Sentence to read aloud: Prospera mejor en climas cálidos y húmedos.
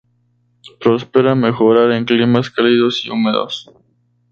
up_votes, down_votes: 0, 2